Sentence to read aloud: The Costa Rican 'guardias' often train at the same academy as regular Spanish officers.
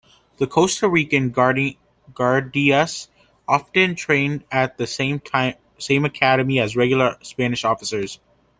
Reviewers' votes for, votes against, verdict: 0, 2, rejected